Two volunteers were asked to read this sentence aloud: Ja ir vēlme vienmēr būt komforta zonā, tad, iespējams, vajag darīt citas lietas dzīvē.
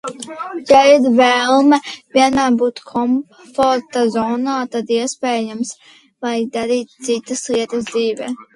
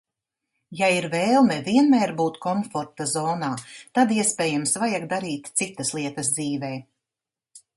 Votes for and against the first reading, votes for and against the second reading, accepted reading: 1, 2, 2, 0, second